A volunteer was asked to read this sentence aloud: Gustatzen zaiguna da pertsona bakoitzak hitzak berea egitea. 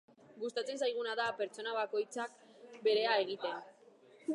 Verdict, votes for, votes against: rejected, 1, 2